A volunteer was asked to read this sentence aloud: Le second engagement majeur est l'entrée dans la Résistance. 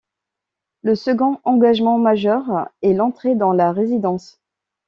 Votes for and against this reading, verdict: 1, 2, rejected